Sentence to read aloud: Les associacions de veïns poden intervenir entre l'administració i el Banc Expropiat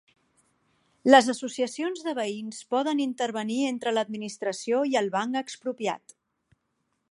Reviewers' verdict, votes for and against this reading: accepted, 3, 0